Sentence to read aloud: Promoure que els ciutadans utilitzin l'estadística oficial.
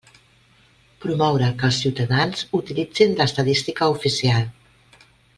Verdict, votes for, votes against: accepted, 2, 0